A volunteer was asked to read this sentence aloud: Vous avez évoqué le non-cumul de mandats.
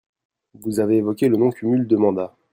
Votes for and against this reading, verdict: 0, 2, rejected